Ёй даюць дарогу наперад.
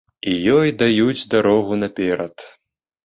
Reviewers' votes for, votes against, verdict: 2, 1, accepted